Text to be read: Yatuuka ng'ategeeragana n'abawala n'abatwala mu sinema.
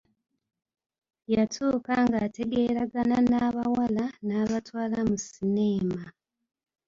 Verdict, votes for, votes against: rejected, 0, 2